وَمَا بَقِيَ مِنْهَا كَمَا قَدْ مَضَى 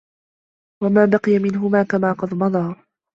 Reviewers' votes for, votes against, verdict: 1, 2, rejected